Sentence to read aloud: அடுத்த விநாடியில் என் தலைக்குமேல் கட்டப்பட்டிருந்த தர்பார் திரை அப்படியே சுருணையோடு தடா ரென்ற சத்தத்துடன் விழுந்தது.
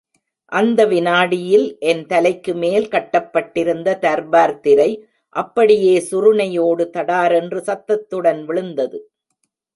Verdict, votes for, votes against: rejected, 1, 2